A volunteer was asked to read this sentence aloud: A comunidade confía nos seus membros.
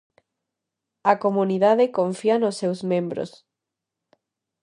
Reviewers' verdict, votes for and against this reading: accepted, 2, 0